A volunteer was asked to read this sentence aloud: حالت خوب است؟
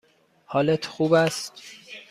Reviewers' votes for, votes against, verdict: 2, 0, accepted